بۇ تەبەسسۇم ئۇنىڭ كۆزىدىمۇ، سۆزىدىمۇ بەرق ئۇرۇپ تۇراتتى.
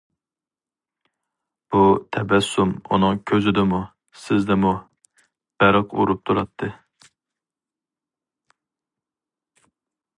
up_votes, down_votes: 2, 2